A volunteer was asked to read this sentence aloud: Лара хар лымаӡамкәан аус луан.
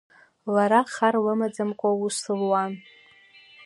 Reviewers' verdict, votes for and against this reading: accepted, 2, 0